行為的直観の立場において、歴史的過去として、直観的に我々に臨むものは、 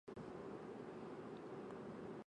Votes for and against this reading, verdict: 0, 2, rejected